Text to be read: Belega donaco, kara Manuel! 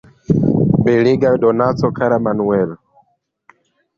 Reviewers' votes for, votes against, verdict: 0, 2, rejected